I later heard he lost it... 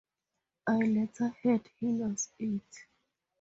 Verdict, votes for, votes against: rejected, 0, 2